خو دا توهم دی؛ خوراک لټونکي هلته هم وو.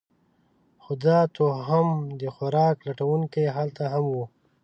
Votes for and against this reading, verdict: 0, 2, rejected